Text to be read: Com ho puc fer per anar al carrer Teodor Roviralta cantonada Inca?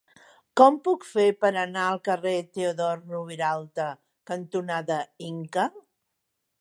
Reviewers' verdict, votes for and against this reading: rejected, 0, 2